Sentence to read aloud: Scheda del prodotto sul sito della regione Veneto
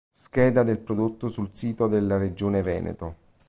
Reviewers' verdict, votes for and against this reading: accepted, 2, 0